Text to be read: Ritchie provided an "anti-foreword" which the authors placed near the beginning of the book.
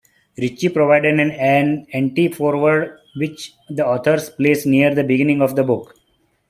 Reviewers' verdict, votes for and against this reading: rejected, 1, 2